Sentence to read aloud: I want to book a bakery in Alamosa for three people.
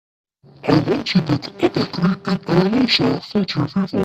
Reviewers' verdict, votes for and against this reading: rejected, 0, 2